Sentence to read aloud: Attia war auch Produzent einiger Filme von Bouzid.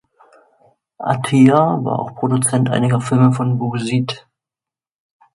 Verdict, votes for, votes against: accepted, 2, 0